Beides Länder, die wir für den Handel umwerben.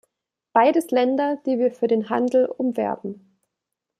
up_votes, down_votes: 2, 0